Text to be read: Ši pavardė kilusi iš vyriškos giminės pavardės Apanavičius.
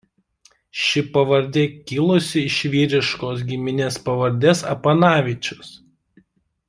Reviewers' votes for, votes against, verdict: 2, 0, accepted